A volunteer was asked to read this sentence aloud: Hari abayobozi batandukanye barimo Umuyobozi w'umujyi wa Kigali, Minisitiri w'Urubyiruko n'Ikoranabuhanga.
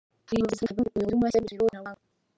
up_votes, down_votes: 2, 3